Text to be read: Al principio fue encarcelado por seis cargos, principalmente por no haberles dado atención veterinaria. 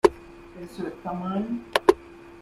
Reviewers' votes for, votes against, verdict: 0, 2, rejected